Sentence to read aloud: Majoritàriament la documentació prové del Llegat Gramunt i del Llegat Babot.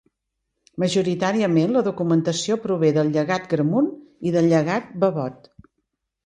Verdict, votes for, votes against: accepted, 2, 0